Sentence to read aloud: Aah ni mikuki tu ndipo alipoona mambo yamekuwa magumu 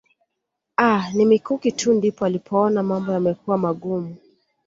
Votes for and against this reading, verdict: 2, 0, accepted